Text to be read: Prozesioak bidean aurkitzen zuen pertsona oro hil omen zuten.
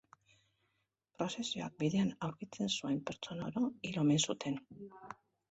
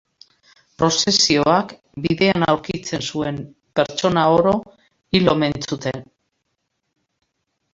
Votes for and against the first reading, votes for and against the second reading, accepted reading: 1, 2, 3, 0, second